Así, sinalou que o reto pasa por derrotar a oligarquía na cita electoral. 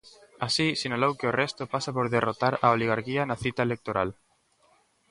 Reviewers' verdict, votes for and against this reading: rejected, 1, 2